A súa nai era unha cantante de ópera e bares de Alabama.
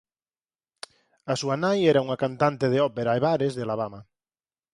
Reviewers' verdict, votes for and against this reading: rejected, 2, 2